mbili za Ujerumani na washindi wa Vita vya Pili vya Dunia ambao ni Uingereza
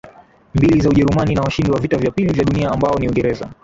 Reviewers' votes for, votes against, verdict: 2, 0, accepted